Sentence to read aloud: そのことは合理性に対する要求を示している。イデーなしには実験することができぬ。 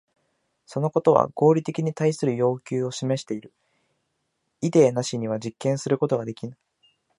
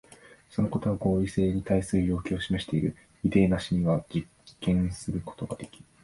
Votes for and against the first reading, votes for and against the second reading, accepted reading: 1, 2, 2, 0, second